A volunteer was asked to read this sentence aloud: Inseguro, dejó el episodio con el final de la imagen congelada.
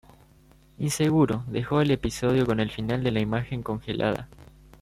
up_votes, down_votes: 2, 0